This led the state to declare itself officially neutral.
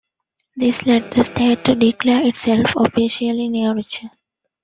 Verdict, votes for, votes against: rejected, 1, 2